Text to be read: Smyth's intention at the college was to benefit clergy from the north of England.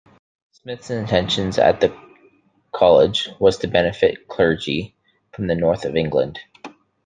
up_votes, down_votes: 1, 2